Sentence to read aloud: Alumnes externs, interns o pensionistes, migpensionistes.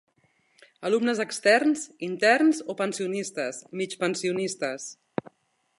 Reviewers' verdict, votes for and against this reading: accepted, 2, 0